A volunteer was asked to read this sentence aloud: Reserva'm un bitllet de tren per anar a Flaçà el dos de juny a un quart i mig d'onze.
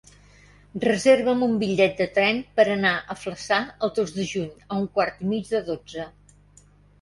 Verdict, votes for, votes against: accepted, 2, 1